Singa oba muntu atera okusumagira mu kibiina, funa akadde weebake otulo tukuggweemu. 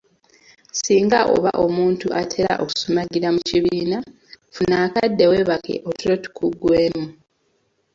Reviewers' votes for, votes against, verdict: 2, 1, accepted